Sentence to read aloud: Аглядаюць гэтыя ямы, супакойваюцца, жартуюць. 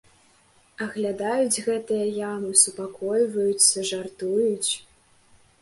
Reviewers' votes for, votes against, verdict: 2, 1, accepted